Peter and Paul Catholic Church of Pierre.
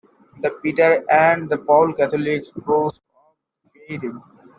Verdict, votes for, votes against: rejected, 0, 2